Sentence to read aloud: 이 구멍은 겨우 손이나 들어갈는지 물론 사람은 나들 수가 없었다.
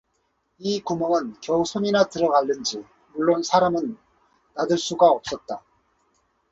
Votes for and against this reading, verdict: 4, 2, accepted